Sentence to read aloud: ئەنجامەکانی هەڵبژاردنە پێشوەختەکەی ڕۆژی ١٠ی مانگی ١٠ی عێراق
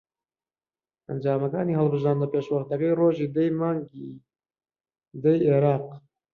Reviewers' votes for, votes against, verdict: 0, 2, rejected